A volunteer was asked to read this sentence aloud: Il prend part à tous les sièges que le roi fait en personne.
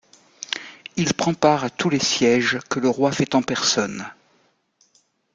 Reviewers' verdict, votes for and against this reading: accepted, 2, 0